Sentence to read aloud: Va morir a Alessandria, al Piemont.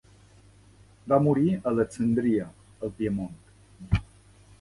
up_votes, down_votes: 0, 2